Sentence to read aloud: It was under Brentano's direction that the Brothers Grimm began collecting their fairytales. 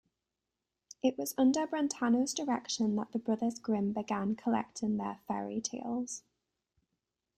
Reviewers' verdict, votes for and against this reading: accepted, 2, 0